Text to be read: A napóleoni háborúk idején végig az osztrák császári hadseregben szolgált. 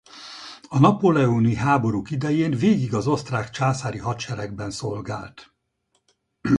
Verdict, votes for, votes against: rejected, 0, 4